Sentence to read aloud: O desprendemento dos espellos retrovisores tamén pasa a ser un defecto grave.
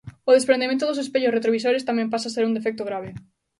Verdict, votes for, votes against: accepted, 2, 0